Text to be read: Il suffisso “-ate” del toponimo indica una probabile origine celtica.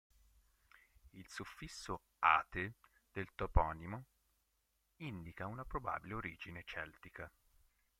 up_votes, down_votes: 1, 4